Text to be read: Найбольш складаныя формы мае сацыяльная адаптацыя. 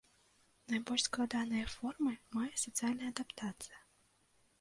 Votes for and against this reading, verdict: 2, 0, accepted